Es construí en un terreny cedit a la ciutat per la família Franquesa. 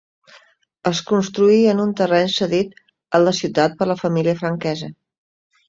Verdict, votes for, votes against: accepted, 2, 0